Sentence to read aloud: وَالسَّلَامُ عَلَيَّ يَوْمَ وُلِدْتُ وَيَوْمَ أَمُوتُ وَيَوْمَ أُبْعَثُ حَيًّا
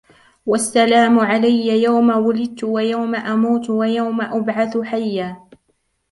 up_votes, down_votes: 2, 1